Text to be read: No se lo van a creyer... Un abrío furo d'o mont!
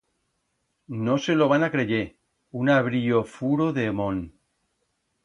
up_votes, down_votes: 1, 2